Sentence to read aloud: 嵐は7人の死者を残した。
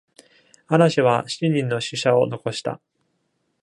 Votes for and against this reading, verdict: 0, 2, rejected